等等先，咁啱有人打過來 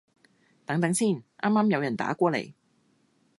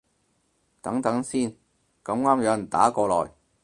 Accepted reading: second